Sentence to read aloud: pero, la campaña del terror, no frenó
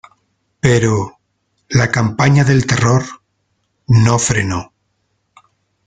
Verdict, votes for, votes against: accepted, 2, 0